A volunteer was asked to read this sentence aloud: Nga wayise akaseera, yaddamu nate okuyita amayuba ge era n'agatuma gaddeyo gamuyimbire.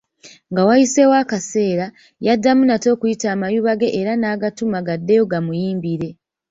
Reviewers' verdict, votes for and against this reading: rejected, 0, 2